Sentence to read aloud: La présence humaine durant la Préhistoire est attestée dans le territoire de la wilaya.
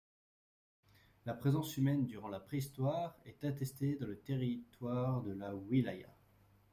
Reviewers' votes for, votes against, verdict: 1, 2, rejected